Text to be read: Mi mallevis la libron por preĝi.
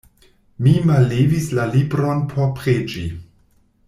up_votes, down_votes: 2, 0